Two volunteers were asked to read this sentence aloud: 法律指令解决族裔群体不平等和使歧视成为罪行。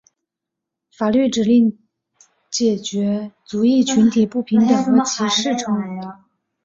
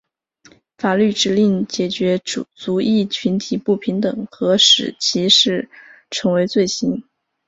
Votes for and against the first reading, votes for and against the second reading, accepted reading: 0, 6, 2, 1, second